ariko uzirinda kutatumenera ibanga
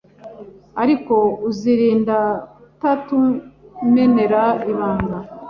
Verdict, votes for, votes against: rejected, 1, 2